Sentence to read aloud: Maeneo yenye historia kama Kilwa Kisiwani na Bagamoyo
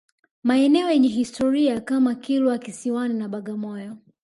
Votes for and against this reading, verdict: 1, 2, rejected